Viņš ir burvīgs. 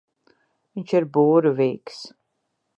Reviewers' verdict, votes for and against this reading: accepted, 2, 1